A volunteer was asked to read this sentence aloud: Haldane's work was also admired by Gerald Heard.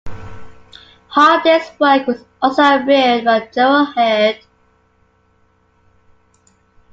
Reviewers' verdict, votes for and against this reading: rejected, 1, 2